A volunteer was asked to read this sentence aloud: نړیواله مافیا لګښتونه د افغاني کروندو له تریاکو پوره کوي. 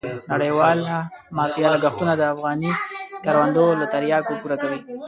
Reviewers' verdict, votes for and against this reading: rejected, 0, 2